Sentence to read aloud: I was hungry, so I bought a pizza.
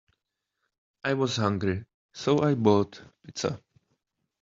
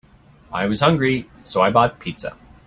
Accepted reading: second